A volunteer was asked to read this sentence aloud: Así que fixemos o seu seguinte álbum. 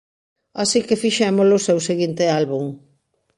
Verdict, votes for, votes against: rejected, 1, 2